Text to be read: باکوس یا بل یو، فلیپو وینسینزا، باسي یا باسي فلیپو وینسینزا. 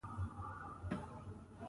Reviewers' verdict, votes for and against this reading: rejected, 1, 2